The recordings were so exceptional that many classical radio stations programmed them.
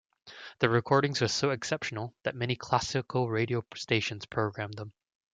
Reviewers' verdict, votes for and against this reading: rejected, 1, 2